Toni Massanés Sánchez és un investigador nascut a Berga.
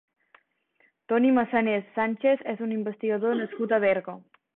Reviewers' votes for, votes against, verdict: 3, 0, accepted